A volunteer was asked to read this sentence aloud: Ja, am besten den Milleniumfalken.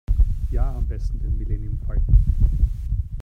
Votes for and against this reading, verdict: 0, 3, rejected